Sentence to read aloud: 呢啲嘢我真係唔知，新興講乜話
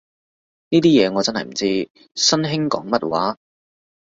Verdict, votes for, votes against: accepted, 2, 0